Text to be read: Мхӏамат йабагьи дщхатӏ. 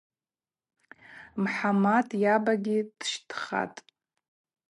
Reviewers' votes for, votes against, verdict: 2, 2, rejected